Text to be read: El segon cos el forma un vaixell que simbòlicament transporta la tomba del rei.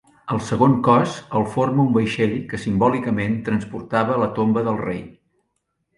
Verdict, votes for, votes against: rejected, 0, 2